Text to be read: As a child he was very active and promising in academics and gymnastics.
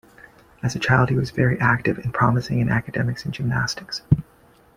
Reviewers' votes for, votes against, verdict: 2, 0, accepted